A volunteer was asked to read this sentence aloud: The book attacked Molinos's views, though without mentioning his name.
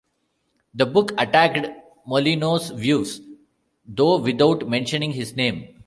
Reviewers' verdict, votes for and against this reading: accepted, 2, 1